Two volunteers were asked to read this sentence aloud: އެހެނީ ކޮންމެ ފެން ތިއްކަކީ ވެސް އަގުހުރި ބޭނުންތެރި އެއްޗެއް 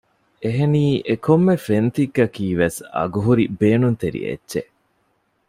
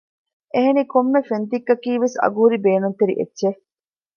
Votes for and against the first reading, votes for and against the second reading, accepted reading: 1, 2, 2, 0, second